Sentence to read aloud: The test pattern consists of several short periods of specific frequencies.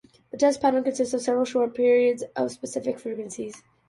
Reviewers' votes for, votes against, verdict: 2, 1, accepted